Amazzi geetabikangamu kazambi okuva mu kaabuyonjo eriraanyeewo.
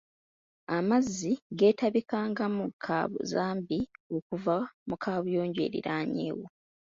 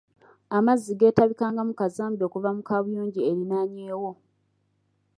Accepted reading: second